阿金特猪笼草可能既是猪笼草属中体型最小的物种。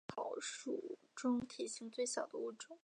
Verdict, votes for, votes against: rejected, 0, 3